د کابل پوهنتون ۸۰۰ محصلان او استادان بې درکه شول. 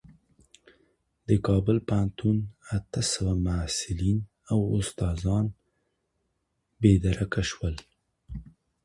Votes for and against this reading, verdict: 0, 2, rejected